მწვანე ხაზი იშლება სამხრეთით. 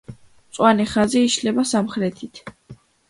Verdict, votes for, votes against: accepted, 2, 1